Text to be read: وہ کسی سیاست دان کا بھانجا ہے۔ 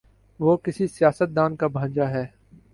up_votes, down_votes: 3, 0